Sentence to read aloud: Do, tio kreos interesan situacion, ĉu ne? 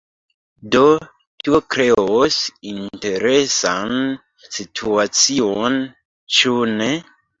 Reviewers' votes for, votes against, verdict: 2, 0, accepted